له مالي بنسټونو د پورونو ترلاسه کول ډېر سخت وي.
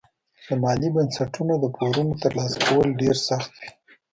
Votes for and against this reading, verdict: 2, 0, accepted